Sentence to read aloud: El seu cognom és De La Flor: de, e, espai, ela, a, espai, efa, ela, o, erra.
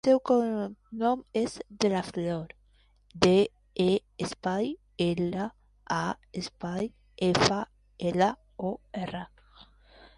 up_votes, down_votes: 0, 2